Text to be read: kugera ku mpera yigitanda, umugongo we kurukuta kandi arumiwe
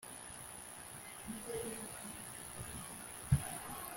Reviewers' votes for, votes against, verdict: 0, 2, rejected